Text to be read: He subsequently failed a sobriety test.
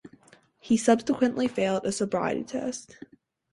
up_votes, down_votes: 2, 2